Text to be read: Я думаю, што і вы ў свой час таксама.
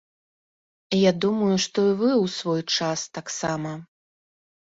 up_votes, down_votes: 2, 0